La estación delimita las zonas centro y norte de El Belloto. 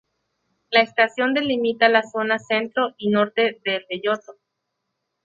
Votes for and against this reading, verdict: 0, 2, rejected